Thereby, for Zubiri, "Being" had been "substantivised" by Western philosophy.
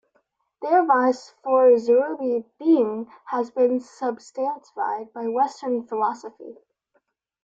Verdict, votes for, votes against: rejected, 0, 2